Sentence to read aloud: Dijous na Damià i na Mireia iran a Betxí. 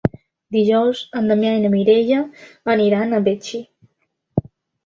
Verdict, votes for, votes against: rejected, 0, 3